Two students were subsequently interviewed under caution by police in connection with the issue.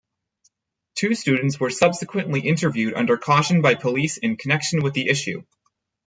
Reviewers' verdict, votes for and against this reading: rejected, 2, 4